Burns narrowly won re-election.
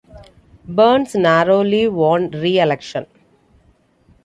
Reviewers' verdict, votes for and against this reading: accepted, 2, 0